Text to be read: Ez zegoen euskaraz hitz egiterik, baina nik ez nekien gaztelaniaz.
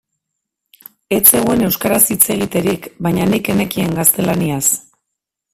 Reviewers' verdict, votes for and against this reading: rejected, 0, 4